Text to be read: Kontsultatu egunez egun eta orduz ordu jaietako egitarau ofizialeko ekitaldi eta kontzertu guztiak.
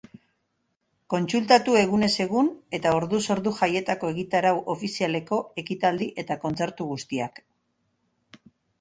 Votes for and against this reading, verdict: 3, 0, accepted